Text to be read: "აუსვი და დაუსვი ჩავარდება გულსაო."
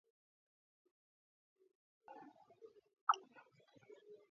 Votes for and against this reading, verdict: 2, 1, accepted